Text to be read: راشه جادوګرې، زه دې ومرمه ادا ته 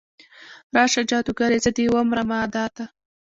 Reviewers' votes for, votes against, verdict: 2, 0, accepted